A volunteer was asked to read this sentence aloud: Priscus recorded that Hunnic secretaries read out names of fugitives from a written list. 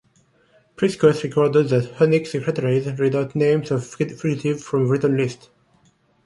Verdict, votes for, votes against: rejected, 0, 2